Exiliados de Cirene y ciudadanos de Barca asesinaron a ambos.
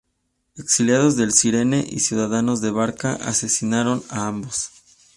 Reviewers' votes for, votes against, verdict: 0, 2, rejected